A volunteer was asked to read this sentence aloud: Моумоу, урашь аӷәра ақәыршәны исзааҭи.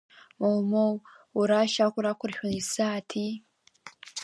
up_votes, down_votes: 1, 2